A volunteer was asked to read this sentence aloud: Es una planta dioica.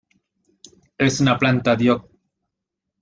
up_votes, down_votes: 0, 2